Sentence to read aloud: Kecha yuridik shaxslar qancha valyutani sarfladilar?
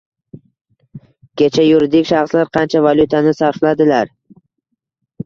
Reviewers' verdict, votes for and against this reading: accepted, 2, 0